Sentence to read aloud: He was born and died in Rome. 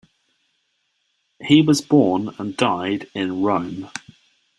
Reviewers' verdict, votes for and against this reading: accepted, 2, 0